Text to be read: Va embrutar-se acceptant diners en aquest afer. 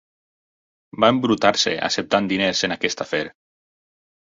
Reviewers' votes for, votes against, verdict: 6, 2, accepted